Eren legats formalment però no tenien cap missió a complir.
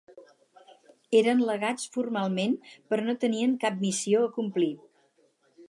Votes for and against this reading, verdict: 4, 0, accepted